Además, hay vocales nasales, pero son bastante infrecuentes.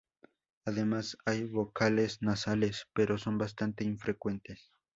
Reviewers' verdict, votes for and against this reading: accepted, 2, 0